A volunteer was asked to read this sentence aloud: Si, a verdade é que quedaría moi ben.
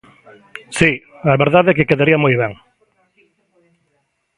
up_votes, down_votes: 2, 0